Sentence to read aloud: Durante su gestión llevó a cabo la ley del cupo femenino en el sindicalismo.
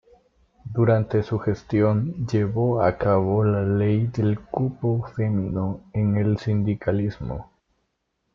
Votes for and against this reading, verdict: 1, 2, rejected